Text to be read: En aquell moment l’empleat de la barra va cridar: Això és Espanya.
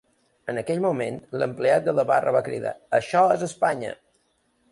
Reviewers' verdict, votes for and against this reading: accepted, 3, 0